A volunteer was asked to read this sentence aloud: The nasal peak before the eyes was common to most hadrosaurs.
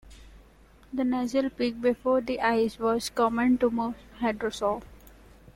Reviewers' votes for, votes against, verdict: 2, 3, rejected